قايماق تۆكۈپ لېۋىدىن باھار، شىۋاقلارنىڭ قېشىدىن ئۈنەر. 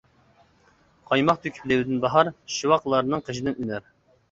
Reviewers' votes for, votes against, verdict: 2, 1, accepted